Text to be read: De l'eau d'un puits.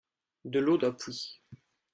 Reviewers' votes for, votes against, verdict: 0, 2, rejected